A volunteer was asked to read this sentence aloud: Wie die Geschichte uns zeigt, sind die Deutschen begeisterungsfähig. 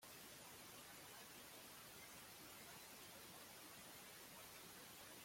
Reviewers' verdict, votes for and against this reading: rejected, 0, 2